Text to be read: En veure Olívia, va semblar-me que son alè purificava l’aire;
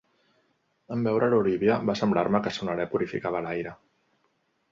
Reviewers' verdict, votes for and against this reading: rejected, 1, 2